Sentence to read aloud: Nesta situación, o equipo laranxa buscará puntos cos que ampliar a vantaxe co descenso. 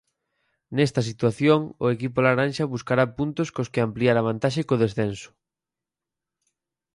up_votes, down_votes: 4, 0